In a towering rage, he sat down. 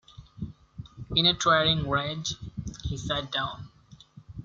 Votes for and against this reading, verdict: 2, 0, accepted